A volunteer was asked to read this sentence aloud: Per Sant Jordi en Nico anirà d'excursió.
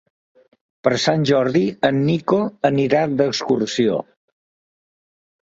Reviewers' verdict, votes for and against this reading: accepted, 2, 0